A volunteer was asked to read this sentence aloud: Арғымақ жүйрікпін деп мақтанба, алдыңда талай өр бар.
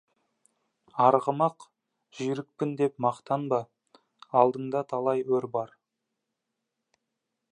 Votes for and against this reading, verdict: 2, 0, accepted